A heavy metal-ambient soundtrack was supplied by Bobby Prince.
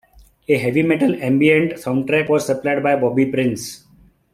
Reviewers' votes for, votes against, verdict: 2, 1, accepted